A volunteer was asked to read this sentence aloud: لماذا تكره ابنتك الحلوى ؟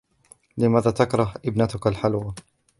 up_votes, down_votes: 2, 0